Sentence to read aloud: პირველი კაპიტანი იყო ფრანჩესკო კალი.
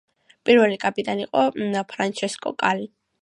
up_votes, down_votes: 2, 0